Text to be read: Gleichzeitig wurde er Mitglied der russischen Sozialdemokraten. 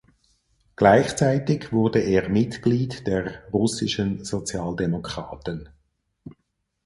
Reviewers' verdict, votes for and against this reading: accepted, 4, 0